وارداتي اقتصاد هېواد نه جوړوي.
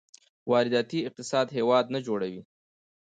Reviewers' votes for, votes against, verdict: 2, 0, accepted